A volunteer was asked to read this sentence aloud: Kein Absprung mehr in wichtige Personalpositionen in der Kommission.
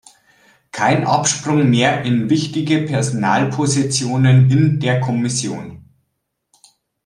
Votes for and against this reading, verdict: 2, 0, accepted